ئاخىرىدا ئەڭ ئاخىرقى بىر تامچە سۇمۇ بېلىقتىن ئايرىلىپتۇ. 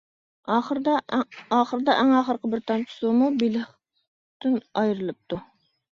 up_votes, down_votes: 0, 2